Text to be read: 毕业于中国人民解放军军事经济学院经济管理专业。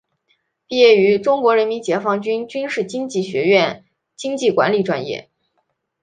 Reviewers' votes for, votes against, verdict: 2, 0, accepted